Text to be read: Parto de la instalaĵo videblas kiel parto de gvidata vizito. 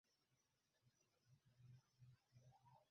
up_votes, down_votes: 0, 2